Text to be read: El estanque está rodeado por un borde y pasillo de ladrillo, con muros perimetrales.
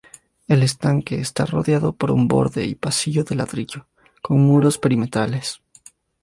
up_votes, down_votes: 2, 0